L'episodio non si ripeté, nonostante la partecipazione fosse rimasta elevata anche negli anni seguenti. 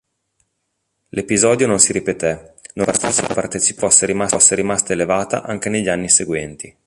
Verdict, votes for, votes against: rejected, 0, 2